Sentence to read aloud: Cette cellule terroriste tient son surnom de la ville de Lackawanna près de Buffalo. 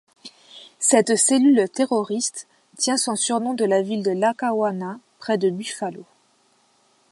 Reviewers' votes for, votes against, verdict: 2, 0, accepted